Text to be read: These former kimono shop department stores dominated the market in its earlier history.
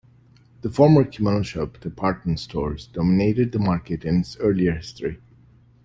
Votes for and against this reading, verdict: 1, 2, rejected